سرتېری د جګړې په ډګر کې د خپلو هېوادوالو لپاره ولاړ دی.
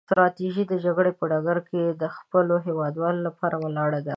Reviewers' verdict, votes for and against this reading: rejected, 0, 2